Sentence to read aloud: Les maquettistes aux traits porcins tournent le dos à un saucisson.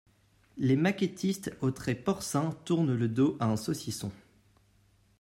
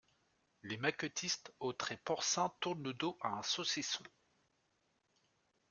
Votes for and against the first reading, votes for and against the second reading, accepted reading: 2, 0, 0, 2, first